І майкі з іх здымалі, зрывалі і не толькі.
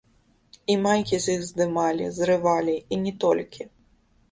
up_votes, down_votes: 1, 2